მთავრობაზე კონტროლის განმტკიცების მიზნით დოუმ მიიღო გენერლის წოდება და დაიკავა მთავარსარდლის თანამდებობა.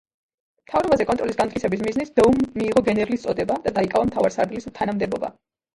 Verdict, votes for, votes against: rejected, 1, 2